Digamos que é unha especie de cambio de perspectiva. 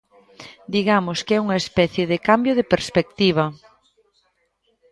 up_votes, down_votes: 1, 2